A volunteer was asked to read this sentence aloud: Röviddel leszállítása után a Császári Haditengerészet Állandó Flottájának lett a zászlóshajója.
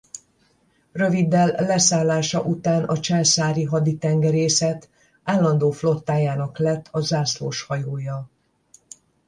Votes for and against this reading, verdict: 0, 10, rejected